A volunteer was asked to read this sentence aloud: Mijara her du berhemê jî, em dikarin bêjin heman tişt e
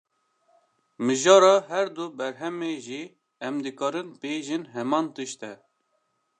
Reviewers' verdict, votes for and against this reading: accepted, 2, 0